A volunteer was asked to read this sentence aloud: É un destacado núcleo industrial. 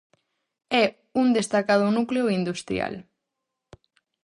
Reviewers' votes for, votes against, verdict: 2, 2, rejected